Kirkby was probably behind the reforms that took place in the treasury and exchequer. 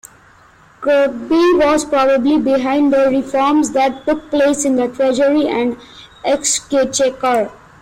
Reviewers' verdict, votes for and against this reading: rejected, 0, 2